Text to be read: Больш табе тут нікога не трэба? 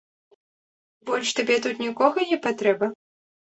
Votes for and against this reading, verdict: 0, 2, rejected